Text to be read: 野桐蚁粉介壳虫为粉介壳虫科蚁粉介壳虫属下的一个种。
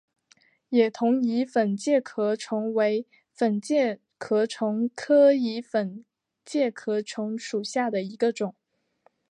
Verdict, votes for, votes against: accepted, 8, 0